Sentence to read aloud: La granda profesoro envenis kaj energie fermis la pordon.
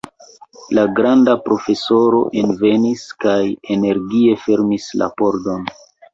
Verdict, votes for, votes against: accepted, 2, 0